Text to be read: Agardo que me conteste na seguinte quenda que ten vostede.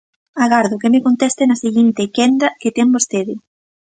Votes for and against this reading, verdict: 2, 0, accepted